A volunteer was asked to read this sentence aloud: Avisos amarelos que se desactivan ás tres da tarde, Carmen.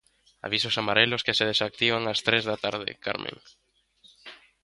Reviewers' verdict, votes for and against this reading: accepted, 2, 0